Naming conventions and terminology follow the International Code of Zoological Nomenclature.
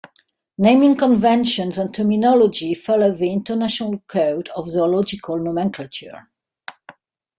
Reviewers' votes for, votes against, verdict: 2, 0, accepted